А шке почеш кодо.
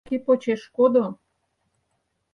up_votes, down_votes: 2, 4